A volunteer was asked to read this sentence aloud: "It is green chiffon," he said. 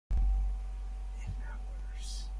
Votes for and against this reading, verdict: 0, 2, rejected